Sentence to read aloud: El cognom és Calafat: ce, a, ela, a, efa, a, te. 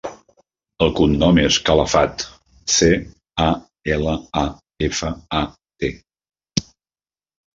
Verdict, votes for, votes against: rejected, 1, 2